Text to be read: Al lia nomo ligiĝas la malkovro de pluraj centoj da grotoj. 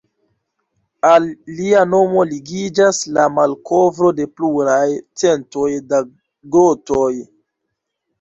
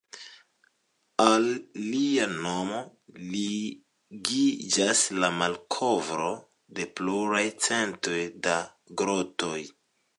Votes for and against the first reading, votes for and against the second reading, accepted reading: 1, 2, 2, 1, second